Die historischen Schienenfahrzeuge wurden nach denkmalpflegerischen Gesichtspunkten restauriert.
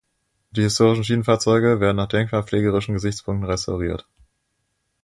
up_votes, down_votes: 1, 2